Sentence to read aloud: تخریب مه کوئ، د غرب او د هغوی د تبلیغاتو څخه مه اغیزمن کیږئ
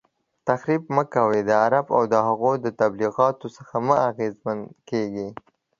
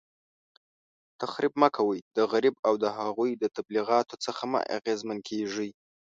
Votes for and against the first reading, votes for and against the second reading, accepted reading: 2, 0, 1, 2, first